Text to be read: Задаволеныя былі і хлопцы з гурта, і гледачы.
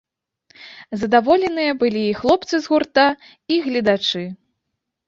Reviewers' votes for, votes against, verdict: 2, 0, accepted